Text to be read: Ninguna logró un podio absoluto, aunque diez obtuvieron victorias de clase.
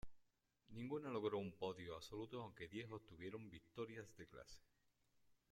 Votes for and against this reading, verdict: 0, 2, rejected